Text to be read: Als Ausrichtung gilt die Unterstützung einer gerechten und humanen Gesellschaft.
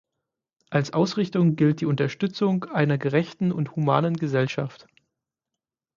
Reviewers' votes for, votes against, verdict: 6, 0, accepted